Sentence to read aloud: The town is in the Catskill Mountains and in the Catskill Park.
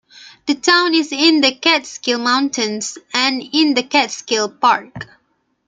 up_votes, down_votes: 3, 0